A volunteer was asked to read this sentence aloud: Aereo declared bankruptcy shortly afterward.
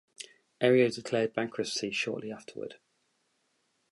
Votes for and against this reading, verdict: 2, 2, rejected